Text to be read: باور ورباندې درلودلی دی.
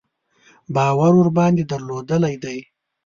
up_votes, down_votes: 3, 0